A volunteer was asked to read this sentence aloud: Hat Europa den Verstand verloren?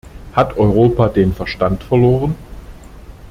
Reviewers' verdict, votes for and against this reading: accepted, 2, 0